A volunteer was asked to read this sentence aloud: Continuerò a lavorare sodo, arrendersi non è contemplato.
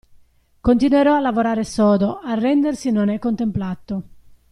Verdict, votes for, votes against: accepted, 2, 0